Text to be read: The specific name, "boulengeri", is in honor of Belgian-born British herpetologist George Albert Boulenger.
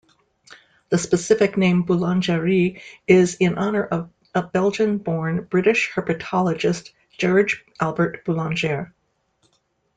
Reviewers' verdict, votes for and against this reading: rejected, 1, 2